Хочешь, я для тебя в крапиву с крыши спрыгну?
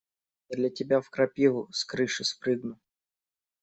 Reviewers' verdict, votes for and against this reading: rejected, 0, 2